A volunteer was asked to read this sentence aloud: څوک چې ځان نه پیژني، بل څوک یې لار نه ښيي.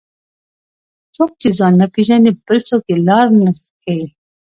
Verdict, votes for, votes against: rejected, 1, 2